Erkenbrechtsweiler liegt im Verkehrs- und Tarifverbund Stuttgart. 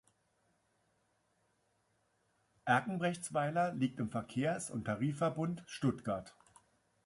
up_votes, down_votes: 2, 0